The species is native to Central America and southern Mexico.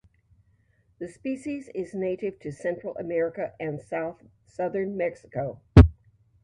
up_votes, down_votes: 1, 2